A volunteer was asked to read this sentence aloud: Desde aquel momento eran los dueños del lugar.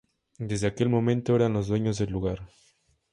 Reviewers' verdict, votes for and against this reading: accepted, 4, 0